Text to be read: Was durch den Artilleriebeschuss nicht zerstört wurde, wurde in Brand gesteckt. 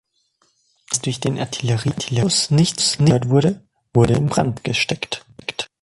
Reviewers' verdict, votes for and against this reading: rejected, 1, 2